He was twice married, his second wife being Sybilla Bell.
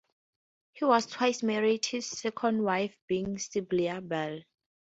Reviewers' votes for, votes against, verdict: 0, 4, rejected